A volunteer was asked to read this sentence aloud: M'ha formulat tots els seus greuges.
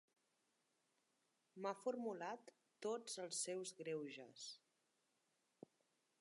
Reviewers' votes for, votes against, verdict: 1, 2, rejected